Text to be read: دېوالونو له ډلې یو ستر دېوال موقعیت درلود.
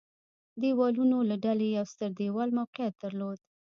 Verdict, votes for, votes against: rejected, 1, 2